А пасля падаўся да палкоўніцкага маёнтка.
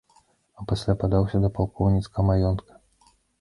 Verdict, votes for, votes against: rejected, 1, 2